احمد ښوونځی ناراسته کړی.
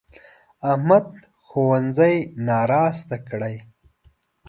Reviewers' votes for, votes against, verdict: 3, 0, accepted